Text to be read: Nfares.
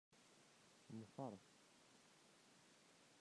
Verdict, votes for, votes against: rejected, 0, 2